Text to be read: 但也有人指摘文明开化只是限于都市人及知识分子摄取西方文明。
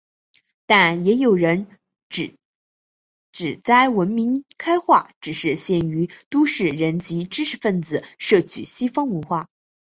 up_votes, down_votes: 1, 2